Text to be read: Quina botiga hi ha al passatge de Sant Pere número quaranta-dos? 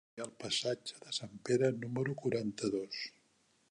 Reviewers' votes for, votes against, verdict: 0, 2, rejected